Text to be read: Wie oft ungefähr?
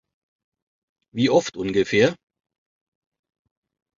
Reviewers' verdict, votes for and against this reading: accepted, 2, 0